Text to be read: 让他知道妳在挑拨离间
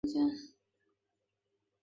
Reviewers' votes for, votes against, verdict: 0, 2, rejected